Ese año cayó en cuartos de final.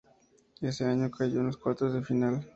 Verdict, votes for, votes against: accepted, 2, 0